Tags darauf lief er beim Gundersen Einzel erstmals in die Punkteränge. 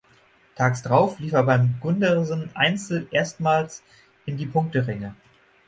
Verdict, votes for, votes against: rejected, 3, 6